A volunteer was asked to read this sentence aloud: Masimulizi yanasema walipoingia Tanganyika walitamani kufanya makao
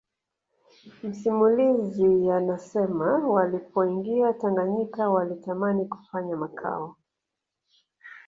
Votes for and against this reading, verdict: 2, 0, accepted